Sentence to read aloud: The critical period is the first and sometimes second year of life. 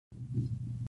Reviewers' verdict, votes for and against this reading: rejected, 0, 2